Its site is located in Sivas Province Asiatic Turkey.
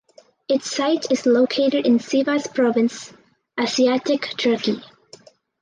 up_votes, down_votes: 4, 0